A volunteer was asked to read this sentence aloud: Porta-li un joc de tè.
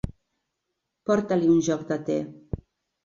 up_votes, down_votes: 3, 0